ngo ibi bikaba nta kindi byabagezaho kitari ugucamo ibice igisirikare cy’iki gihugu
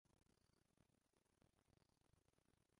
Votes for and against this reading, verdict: 0, 2, rejected